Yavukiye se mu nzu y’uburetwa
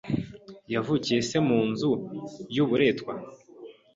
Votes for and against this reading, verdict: 2, 0, accepted